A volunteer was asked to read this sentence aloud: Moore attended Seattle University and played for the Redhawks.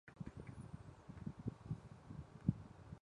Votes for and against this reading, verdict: 0, 2, rejected